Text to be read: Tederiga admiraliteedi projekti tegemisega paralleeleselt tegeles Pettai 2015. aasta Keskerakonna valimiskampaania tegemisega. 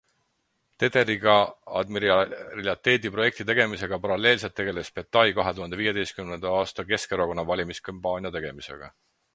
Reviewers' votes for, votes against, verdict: 0, 2, rejected